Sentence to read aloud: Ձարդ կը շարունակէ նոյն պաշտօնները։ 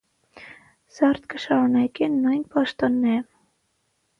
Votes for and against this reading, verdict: 3, 3, rejected